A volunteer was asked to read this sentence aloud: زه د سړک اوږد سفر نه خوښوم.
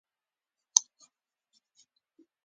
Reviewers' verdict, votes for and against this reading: rejected, 0, 2